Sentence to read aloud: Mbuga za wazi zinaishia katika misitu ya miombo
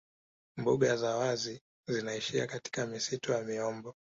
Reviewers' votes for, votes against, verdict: 2, 1, accepted